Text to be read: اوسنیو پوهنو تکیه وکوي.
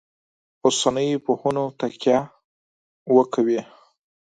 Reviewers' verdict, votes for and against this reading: accepted, 4, 0